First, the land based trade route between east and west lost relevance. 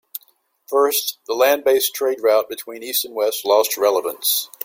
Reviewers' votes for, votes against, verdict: 2, 0, accepted